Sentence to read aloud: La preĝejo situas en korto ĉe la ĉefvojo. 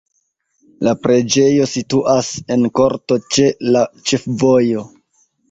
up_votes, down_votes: 1, 2